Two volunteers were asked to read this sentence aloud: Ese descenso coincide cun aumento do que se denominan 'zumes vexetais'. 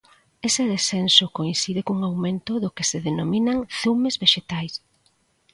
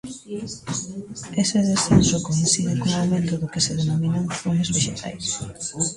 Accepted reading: first